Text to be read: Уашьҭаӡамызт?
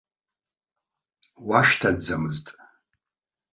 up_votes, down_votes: 2, 1